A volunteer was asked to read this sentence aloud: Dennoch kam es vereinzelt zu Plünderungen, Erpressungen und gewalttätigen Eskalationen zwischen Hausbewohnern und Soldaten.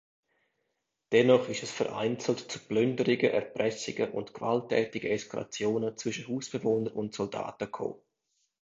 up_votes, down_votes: 0, 2